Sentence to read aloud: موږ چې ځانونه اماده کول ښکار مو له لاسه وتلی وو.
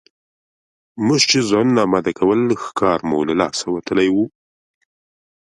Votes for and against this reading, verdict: 2, 0, accepted